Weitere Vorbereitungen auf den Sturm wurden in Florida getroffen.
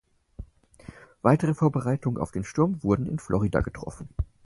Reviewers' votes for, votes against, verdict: 4, 0, accepted